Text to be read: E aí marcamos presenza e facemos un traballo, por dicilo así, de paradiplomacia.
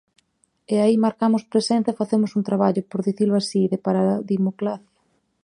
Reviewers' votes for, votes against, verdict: 4, 10, rejected